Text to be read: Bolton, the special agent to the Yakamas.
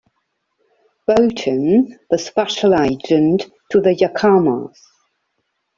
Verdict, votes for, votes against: accepted, 2, 1